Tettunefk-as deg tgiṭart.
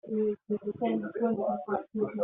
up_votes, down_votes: 2, 3